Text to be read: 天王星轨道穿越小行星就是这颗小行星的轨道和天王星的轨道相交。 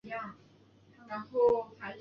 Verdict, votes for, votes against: rejected, 0, 2